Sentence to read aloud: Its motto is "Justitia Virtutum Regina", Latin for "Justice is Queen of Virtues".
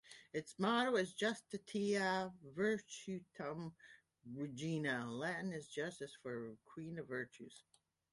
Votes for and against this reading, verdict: 2, 0, accepted